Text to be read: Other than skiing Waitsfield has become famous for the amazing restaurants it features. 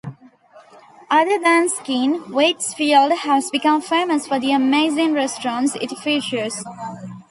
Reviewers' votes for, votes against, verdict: 2, 0, accepted